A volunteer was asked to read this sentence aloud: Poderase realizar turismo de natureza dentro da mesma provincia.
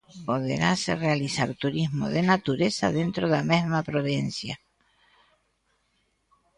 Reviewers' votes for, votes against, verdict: 2, 0, accepted